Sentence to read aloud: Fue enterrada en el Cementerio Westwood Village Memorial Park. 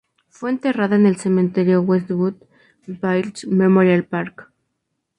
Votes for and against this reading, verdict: 0, 2, rejected